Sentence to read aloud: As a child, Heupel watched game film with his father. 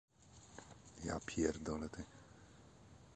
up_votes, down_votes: 0, 2